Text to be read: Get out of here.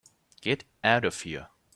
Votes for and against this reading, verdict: 3, 1, accepted